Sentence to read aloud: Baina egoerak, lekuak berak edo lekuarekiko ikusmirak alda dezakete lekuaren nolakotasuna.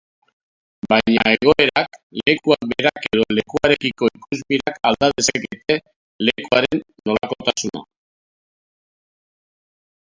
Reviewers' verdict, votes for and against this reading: rejected, 0, 3